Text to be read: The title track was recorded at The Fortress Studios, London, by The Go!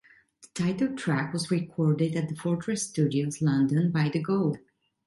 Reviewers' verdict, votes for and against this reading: accepted, 2, 0